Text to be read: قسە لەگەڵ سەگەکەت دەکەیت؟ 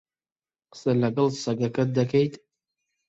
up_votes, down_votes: 2, 0